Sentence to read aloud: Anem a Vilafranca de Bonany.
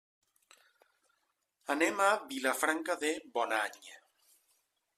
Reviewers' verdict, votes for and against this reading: rejected, 1, 2